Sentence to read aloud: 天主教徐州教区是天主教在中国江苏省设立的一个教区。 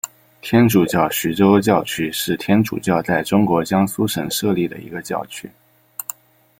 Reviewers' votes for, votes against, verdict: 2, 0, accepted